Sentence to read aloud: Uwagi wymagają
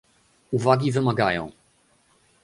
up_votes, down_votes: 2, 0